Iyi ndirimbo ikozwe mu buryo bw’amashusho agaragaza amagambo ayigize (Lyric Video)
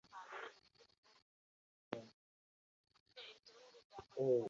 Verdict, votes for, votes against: rejected, 0, 2